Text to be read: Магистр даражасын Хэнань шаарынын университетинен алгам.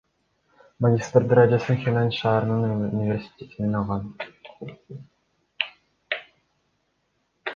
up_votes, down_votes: 2, 1